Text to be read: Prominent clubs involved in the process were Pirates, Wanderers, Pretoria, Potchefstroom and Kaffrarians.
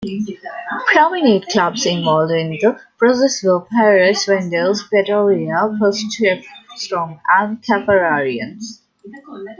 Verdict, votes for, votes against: accepted, 2, 1